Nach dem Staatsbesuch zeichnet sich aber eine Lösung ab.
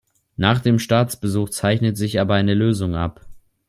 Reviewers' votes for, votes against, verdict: 2, 0, accepted